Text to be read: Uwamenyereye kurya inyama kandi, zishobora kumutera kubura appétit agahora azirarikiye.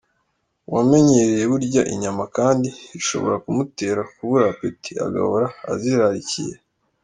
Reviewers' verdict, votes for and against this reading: rejected, 1, 2